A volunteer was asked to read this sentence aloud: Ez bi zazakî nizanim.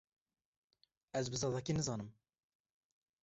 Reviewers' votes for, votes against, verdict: 2, 0, accepted